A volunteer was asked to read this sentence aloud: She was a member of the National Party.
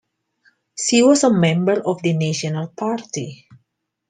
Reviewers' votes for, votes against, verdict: 2, 0, accepted